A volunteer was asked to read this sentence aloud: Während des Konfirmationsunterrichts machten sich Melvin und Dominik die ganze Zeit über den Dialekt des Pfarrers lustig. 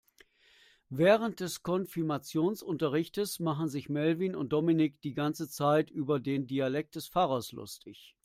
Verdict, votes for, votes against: rejected, 2, 3